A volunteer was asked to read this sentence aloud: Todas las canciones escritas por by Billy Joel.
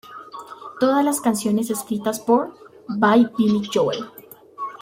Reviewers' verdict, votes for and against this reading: rejected, 0, 2